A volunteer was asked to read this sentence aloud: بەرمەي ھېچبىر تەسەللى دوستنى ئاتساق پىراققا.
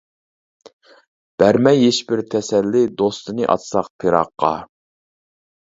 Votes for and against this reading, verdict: 1, 2, rejected